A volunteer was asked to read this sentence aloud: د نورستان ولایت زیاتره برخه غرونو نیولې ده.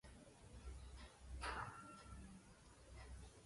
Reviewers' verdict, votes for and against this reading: rejected, 2, 3